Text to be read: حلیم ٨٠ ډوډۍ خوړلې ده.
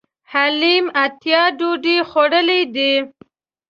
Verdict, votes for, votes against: rejected, 0, 2